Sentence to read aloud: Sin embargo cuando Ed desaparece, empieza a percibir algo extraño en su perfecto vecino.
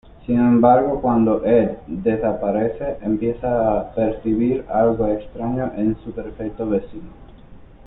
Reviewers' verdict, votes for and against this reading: rejected, 0, 2